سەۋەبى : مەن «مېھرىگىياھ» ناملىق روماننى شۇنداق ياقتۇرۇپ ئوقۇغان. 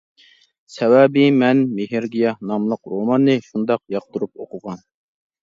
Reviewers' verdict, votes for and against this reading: accepted, 2, 0